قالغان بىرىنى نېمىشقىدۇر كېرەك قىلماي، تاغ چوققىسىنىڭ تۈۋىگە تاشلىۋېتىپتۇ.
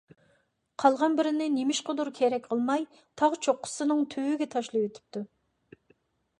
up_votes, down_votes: 3, 0